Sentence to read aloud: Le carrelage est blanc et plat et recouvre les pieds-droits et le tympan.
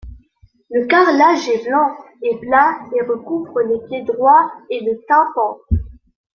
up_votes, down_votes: 2, 1